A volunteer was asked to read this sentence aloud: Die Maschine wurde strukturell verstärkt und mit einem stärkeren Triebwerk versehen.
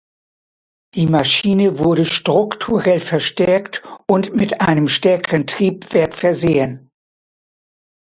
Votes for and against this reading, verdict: 2, 0, accepted